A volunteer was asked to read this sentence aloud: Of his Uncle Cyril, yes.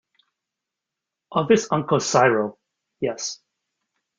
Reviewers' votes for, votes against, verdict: 2, 1, accepted